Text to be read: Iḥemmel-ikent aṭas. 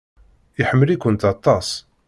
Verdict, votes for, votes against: accepted, 2, 0